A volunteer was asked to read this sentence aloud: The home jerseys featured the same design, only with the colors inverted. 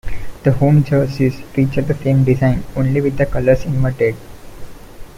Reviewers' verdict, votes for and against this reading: accepted, 2, 0